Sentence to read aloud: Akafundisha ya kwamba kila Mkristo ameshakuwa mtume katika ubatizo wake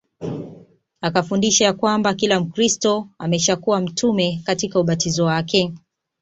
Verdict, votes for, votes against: accepted, 2, 0